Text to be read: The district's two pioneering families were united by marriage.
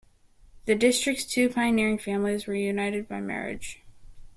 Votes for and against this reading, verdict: 2, 1, accepted